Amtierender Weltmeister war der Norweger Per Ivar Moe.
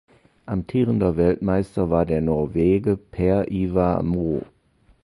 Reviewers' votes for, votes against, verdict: 0, 2, rejected